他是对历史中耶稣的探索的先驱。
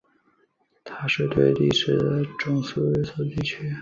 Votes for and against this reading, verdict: 2, 3, rejected